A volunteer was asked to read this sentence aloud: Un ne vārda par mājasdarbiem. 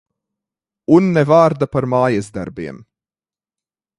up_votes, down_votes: 2, 1